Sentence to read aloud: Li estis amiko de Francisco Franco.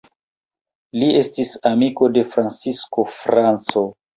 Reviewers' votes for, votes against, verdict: 1, 3, rejected